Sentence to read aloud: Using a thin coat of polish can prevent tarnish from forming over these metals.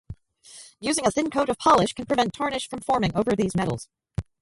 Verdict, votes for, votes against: rejected, 0, 4